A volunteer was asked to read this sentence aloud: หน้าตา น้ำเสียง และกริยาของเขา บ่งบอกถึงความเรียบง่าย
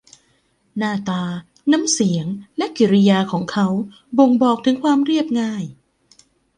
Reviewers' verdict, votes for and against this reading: rejected, 0, 2